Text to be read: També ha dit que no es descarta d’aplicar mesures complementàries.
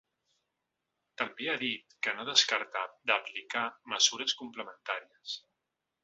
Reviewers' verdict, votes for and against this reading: rejected, 1, 2